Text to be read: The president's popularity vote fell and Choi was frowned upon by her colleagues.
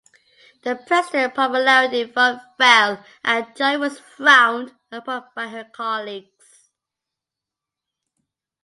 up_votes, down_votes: 0, 2